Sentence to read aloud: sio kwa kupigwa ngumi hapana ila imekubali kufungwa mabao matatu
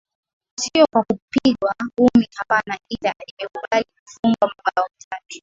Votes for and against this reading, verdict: 8, 1, accepted